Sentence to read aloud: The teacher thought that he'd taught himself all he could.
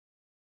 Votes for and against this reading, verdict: 0, 2, rejected